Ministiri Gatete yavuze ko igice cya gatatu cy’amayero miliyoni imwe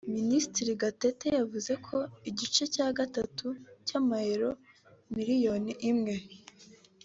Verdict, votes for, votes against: accepted, 4, 0